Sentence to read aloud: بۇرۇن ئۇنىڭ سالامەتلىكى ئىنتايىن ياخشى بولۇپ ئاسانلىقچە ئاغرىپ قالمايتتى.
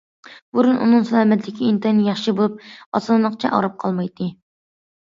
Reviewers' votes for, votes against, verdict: 2, 0, accepted